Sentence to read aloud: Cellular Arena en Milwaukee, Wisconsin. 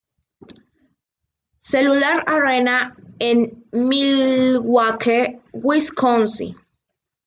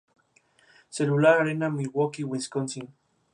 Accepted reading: second